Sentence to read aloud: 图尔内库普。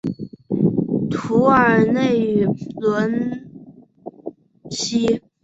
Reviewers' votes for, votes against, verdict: 2, 0, accepted